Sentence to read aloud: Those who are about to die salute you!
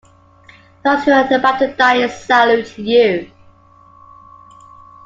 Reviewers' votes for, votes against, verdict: 2, 0, accepted